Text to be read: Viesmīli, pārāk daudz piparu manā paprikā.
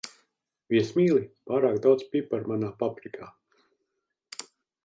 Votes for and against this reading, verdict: 2, 0, accepted